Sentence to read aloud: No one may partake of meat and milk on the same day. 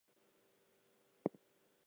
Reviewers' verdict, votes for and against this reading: rejected, 0, 4